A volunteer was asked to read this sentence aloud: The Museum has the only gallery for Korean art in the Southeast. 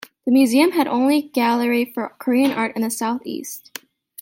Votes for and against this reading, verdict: 1, 2, rejected